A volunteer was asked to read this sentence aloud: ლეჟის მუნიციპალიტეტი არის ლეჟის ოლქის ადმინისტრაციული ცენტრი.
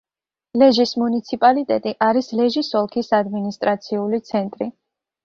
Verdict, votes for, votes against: accepted, 2, 0